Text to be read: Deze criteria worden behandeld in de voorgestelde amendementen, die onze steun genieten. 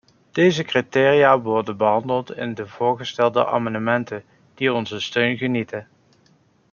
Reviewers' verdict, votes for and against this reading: rejected, 1, 2